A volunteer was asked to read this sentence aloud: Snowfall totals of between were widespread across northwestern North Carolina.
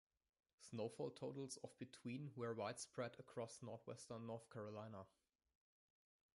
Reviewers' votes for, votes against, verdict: 2, 0, accepted